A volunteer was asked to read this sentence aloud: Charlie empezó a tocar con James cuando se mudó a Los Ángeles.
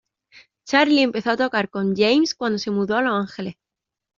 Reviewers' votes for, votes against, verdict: 1, 2, rejected